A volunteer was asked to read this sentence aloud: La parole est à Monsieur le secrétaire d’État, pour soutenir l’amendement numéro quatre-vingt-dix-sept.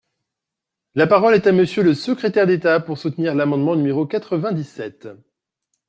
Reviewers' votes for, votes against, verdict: 2, 0, accepted